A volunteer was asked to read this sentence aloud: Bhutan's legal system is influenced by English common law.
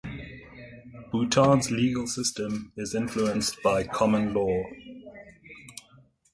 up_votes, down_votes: 0, 2